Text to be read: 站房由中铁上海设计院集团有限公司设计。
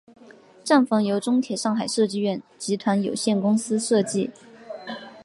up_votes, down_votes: 3, 0